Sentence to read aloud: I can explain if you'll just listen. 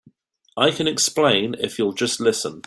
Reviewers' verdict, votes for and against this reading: accepted, 2, 0